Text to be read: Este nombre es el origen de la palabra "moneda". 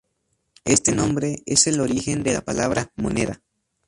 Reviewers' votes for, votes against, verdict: 2, 0, accepted